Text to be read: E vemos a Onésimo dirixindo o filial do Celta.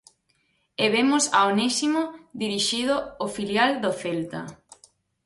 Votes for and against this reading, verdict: 0, 4, rejected